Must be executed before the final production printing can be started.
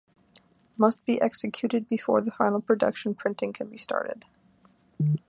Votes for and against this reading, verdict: 2, 1, accepted